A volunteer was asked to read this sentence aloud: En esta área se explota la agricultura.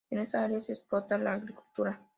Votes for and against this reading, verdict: 2, 0, accepted